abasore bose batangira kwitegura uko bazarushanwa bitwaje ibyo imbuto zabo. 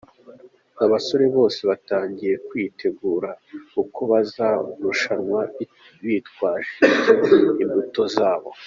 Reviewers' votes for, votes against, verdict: 2, 0, accepted